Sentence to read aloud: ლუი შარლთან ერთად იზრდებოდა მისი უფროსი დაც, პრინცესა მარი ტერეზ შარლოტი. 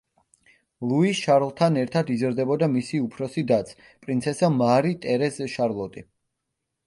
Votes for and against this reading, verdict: 2, 0, accepted